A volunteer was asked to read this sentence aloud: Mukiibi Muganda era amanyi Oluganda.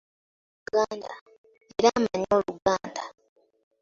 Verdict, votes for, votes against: rejected, 0, 2